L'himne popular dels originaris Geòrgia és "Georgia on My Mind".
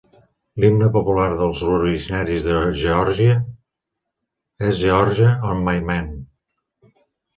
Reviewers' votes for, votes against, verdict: 0, 2, rejected